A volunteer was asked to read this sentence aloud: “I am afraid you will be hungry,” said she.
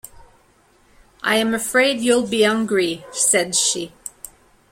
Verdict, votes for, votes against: rejected, 1, 2